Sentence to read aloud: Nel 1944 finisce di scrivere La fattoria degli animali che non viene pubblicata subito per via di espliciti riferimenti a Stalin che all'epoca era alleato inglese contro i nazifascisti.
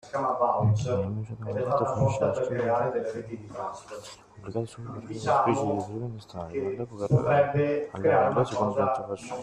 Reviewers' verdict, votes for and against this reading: rejected, 0, 2